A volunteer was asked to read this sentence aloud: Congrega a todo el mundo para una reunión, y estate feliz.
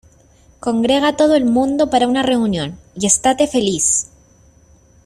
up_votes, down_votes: 2, 0